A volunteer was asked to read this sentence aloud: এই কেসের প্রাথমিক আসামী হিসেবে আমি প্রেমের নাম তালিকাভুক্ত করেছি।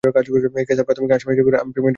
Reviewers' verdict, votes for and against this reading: rejected, 0, 2